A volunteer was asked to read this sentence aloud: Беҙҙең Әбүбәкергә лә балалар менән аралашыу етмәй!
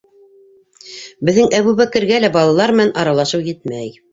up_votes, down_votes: 2, 0